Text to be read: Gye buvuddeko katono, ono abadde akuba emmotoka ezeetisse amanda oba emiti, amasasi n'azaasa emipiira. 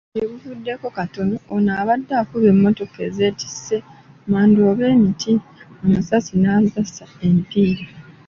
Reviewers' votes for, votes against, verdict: 2, 0, accepted